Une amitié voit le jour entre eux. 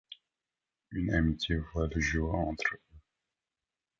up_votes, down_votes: 1, 3